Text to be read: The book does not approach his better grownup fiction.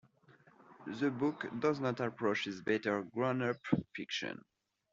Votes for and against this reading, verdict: 2, 0, accepted